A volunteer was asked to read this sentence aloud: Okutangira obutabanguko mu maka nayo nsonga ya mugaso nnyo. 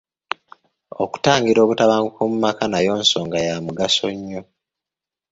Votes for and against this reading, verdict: 3, 0, accepted